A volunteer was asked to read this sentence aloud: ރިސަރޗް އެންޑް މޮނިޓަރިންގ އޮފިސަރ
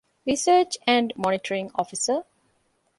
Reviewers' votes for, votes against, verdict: 2, 0, accepted